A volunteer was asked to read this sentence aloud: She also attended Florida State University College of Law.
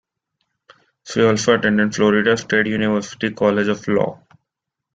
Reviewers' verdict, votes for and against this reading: rejected, 1, 2